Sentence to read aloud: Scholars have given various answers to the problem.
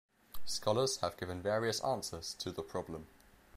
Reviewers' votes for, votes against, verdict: 2, 0, accepted